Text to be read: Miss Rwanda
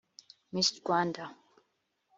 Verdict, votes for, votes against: accepted, 2, 0